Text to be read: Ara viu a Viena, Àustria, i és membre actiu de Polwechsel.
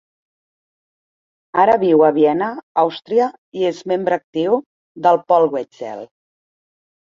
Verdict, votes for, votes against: accepted, 2, 0